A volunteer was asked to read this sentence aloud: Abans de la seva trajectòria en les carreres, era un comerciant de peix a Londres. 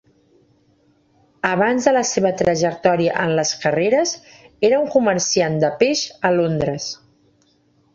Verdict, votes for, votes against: accepted, 3, 0